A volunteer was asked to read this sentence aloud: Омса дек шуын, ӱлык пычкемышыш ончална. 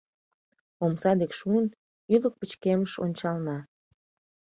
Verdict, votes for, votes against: rejected, 1, 2